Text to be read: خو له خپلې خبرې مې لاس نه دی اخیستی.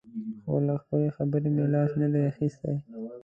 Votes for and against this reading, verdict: 2, 1, accepted